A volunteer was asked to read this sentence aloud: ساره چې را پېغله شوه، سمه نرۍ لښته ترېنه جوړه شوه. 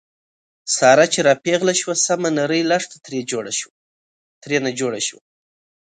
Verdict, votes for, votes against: rejected, 1, 2